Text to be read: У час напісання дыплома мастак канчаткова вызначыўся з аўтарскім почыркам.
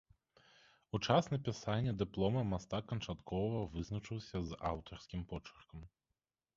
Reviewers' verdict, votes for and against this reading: accepted, 2, 0